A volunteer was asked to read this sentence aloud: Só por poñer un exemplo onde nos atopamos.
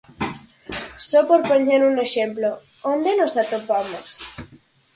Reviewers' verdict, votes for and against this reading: accepted, 4, 0